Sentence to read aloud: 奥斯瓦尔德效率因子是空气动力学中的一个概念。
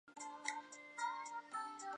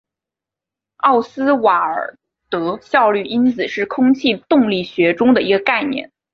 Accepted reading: second